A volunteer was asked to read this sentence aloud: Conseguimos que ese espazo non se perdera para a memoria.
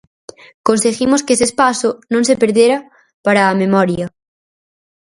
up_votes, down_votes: 4, 0